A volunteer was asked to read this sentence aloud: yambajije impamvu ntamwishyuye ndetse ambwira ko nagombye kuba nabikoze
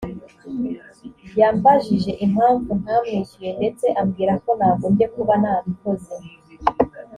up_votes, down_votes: 2, 0